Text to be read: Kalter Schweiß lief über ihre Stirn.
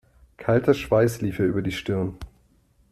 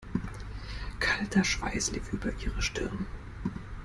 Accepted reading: second